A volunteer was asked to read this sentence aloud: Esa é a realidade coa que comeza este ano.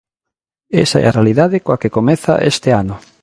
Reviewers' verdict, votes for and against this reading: accepted, 2, 0